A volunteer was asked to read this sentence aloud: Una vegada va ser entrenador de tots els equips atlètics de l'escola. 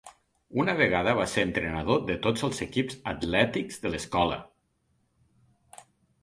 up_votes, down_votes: 3, 0